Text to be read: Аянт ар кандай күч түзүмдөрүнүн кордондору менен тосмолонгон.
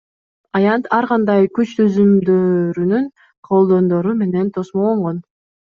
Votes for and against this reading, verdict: 2, 1, accepted